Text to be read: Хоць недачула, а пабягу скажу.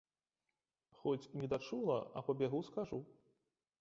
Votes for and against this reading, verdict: 0, 2, rejected